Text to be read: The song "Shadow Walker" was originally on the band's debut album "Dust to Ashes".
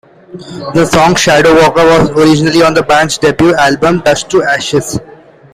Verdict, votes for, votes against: rejected, 1, 2